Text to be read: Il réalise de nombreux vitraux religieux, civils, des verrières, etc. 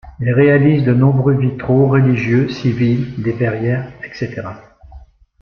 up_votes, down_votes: 2, 0